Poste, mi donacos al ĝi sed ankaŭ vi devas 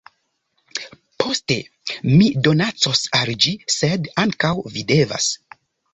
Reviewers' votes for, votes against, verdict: 2, 0, accepted